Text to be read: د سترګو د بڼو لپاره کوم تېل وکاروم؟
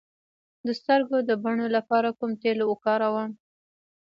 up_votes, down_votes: 1, 2